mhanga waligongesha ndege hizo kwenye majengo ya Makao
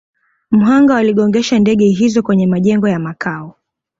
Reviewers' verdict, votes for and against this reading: accepted, 2, 0